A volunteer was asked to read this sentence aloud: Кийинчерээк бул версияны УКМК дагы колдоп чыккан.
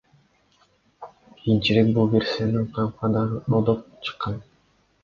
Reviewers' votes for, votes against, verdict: 2, 0, accepted